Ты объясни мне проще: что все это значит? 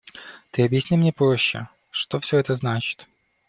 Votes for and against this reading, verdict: 2, 0, accepted